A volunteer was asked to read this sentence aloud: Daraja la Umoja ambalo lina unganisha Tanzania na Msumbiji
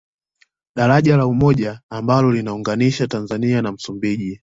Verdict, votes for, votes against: accepted, 2, 0